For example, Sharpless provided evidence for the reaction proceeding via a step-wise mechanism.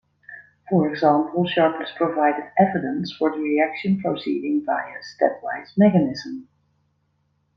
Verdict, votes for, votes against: rejected, 1, 2